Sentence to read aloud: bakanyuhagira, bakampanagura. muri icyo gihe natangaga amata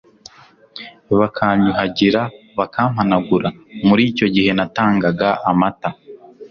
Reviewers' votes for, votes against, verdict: 2, 0, accepted